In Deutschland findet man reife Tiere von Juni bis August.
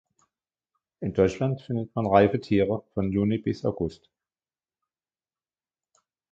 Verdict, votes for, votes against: accepted, 2, 1